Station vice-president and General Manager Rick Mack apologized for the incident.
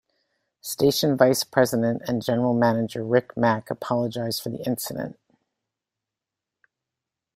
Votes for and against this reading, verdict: 3, 0, accepted